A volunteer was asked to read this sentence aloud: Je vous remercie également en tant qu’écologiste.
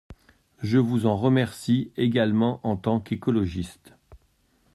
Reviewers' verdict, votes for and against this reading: rejected, 0, 2